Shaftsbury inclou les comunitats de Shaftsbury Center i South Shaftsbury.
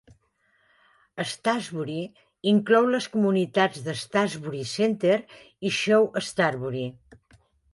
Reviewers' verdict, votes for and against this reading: rejected, 1, 2